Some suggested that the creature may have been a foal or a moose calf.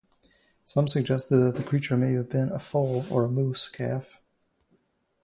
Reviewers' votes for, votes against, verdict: 2, 0, accepted